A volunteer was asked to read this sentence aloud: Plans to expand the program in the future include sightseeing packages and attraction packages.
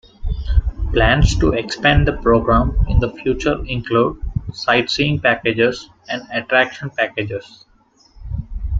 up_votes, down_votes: 2, 0